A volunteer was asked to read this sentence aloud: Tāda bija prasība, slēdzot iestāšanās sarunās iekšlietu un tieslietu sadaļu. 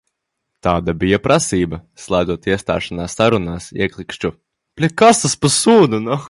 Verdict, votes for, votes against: rejected, 0, 2